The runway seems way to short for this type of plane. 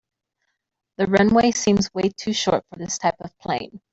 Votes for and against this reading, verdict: 2, 0, accepted